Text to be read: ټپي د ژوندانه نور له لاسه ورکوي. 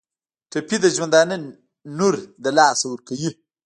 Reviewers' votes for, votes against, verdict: 0, 2, rejected